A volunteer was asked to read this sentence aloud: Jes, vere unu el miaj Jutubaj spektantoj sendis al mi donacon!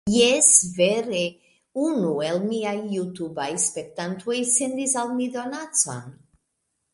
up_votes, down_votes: 2, 0